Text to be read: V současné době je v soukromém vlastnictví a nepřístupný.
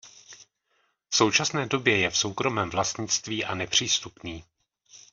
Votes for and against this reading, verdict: 1, 2, rejected